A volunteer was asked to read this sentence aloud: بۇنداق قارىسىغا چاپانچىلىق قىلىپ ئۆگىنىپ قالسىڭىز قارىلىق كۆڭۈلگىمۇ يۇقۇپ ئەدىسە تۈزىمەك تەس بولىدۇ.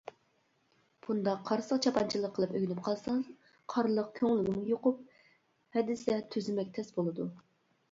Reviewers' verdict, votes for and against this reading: rejected, 1, 2